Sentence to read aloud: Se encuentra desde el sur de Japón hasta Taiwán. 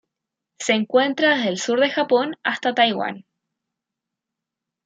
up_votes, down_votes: 0, 2